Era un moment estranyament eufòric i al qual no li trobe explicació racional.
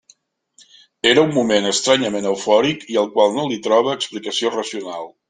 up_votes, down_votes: 2, 1